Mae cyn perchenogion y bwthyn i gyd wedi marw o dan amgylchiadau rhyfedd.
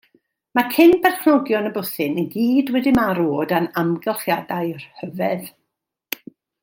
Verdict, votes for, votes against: accepted, 2, 0